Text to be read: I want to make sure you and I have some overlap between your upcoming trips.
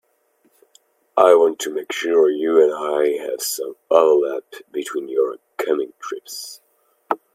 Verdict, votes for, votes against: accepted, 2, 1